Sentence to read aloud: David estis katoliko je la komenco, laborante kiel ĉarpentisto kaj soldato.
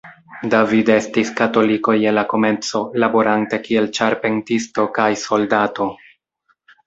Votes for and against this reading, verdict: 2, 0, accepted